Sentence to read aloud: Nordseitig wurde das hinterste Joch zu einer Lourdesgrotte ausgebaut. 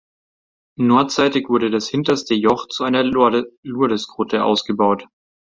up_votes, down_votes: 0, 2